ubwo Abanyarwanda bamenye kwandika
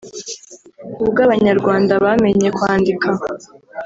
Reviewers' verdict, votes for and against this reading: rejected, 1, 2